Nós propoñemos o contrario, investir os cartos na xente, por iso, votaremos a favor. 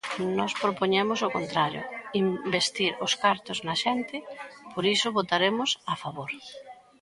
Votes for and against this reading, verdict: 0, 2, rejected